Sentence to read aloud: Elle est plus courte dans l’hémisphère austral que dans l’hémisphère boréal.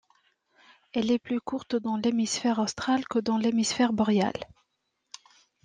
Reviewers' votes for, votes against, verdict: 2, 0, accepted